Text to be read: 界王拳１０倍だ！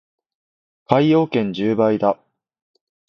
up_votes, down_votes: 0, 2